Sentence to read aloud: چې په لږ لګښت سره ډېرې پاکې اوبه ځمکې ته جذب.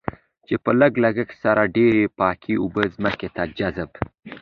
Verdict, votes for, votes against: accepted, 2, 0